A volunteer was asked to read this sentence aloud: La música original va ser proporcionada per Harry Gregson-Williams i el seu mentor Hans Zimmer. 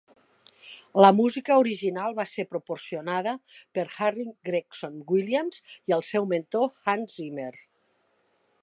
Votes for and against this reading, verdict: 3, 0, accepted